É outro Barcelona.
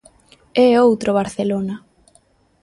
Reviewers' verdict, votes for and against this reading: accepted, 2, 0